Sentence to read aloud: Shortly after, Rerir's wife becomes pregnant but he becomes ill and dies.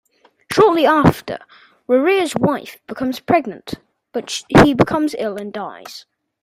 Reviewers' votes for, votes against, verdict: 0, 2, rejected